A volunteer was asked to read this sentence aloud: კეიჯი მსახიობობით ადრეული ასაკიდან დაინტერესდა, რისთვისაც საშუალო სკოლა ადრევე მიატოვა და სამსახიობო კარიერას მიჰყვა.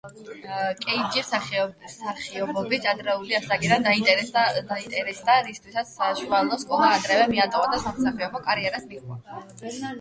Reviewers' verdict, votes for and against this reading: rejected, 0, 8